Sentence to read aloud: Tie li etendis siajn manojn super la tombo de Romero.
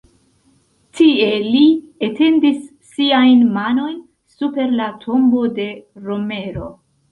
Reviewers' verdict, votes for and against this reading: accepted, 2, 1